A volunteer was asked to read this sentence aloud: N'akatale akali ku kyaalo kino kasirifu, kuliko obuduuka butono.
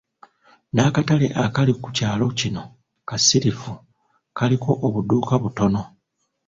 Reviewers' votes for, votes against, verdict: 1, 2, rejected